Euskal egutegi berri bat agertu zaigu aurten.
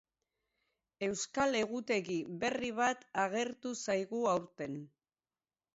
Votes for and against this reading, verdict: 2, 2, rejected